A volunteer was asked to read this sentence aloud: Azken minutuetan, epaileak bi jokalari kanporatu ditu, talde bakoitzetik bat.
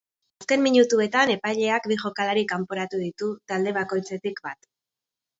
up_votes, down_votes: 2, 2